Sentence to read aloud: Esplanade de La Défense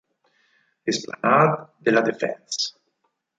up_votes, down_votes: 0, 4